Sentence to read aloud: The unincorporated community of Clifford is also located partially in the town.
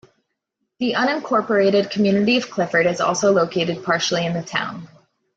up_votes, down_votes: 2, 0